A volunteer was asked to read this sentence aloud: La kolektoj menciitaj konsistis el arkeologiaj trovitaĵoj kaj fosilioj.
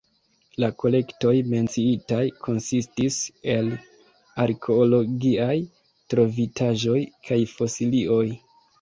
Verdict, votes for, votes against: rejected, 1, 2